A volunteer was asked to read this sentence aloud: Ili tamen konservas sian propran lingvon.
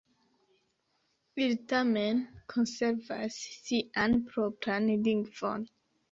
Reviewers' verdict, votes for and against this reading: rejected, 1, 2